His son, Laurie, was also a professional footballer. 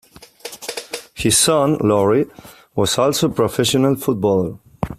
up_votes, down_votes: 2, 0